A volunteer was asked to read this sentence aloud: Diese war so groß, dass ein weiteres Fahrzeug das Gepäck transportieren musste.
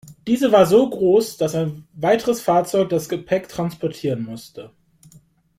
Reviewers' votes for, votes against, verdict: 2, 1, accepted